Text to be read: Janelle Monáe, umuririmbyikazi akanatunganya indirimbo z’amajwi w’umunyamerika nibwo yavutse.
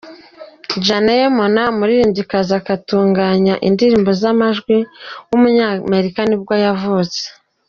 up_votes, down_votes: 0, 2